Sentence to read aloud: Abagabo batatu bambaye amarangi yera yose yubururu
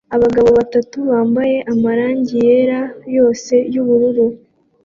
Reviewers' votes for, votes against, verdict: 2, 0, accepted